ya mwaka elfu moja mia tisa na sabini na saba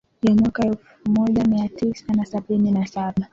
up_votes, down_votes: 2, 1